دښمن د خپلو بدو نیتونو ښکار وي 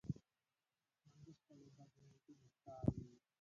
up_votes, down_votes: 0, 2